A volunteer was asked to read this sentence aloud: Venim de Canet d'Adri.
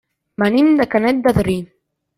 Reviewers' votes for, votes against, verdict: 0, 2, rejected